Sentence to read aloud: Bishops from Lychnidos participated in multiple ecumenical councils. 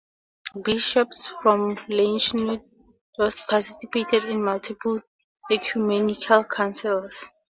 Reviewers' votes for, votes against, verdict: 2, 2, rejected